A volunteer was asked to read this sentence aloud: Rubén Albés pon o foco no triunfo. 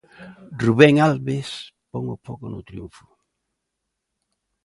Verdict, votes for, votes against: rejected, 0, 2